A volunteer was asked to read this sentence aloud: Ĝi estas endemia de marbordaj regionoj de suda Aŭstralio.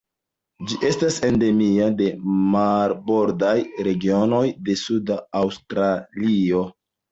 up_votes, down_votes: 2, 0